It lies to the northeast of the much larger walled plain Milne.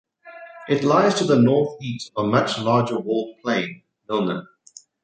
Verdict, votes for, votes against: rejected, 1, 2